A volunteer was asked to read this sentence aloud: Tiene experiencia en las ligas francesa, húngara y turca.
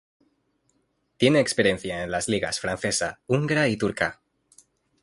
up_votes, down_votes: 2, 0